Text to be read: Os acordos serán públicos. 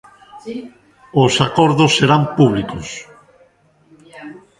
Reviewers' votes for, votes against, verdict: 1, 2, rejected